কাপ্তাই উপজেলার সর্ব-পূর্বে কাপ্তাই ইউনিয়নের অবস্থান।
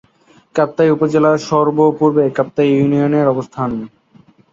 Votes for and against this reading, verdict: 30, 5, accepted